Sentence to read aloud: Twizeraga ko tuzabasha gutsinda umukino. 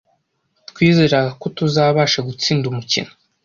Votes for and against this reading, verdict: 2, 0, accepted